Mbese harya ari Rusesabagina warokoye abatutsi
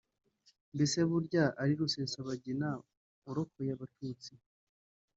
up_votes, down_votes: 1, 2